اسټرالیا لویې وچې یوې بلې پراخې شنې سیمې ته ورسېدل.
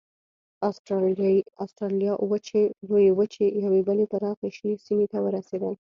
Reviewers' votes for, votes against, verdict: 0, 2, rejected